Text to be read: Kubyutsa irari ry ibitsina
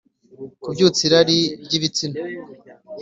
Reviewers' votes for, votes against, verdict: 2, 0, accepted